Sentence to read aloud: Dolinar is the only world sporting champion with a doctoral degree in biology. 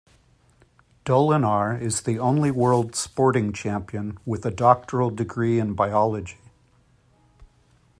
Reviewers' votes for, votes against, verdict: 2, 0, accepted